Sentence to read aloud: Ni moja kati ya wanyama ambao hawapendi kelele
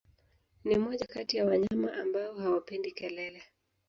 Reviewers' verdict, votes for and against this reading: accepted, 2, 0